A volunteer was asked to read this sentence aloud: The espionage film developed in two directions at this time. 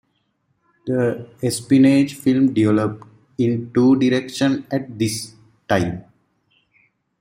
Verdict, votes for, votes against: accepted, 2, 0